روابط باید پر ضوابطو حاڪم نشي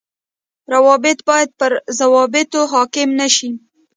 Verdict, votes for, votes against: rejected, 0, 2